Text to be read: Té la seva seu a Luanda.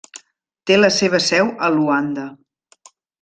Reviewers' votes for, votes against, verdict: 3, 0, accepted